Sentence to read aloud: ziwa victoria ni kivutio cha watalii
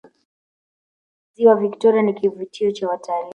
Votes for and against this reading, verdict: 0, 2, rejected